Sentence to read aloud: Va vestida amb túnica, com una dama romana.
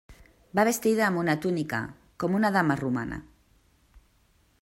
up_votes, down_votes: 1, 2